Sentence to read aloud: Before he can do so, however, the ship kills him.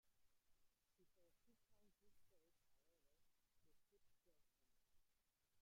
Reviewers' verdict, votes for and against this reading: rejected, 0, 2